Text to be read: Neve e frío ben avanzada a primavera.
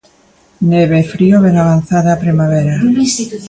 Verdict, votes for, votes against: accepted, 2, 1